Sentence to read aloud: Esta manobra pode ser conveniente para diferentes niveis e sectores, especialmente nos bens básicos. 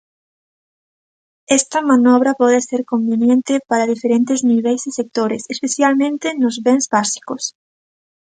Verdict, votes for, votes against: accepted, 2, 0